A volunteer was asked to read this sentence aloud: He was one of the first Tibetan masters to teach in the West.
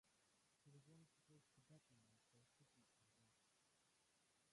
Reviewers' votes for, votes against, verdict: 0, 2, rejected